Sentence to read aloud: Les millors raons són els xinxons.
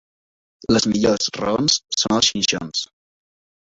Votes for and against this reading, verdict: 2, 0, accepted